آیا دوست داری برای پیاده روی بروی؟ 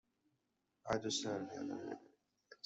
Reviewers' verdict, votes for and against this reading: rejected, 0, 2